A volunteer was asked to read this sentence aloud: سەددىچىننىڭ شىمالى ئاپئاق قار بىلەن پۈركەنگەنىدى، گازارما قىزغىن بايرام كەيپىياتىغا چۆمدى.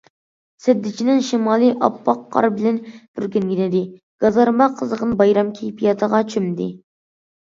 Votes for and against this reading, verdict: 2, 1, accepted